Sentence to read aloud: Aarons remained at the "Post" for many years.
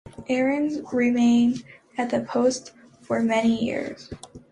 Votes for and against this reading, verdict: 2, 0, accepted